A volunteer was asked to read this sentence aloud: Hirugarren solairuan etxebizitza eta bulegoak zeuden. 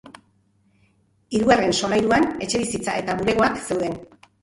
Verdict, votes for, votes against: accepted, 3, 0